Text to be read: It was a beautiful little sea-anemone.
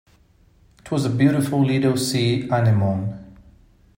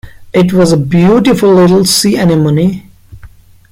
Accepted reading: second